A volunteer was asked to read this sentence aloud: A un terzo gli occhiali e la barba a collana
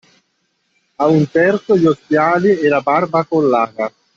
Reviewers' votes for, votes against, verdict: 0, 2, rejected